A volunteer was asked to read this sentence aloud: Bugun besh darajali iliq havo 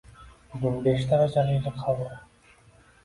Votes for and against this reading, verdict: 0, 2, rejected